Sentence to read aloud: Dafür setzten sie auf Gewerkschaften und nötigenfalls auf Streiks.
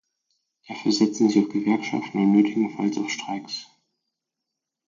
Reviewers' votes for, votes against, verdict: 0, 4, rejected